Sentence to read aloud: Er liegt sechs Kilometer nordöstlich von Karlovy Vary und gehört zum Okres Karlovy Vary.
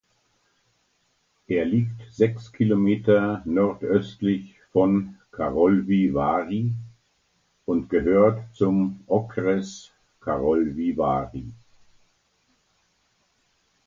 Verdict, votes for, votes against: accepted, 2, 0